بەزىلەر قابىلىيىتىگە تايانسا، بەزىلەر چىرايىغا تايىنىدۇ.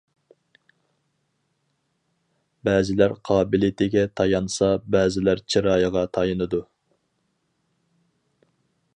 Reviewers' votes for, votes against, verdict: 4, 0, accepted